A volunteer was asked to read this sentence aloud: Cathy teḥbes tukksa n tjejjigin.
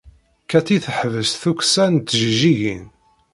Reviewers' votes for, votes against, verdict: 0, 2, rejected